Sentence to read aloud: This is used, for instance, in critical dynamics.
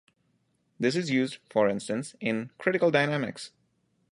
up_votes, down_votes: 2, 0